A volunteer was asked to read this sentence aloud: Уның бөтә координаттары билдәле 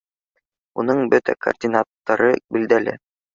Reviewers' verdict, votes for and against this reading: accepted, 2, 0